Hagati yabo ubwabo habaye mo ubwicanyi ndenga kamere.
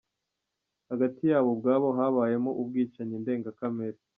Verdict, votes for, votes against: rejected, 1, 2